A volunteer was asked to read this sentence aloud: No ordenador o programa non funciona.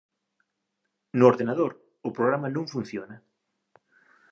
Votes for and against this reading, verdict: 2, 0, accepted